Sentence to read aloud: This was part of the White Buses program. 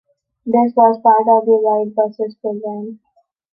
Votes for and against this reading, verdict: 2, 1, accepted